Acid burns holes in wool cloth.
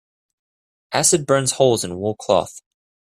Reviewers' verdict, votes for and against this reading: accepted, 2, 0